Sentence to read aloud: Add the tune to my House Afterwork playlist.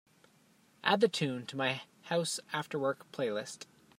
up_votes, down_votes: 3, 0